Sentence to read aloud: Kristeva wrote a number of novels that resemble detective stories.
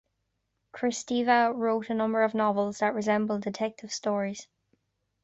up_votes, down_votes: 2, 0